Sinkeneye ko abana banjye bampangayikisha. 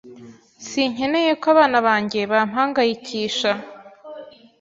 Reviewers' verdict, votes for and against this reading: accepted, 3, 0